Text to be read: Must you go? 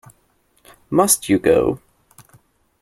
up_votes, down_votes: 2, 0